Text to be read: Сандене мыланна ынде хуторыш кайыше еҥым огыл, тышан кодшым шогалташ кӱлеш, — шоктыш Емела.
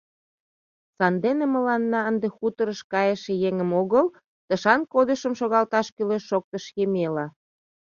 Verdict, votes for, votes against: rejected, 0, 2